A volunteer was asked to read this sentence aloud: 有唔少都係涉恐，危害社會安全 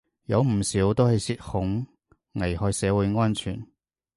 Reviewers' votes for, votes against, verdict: 2, 0, accepted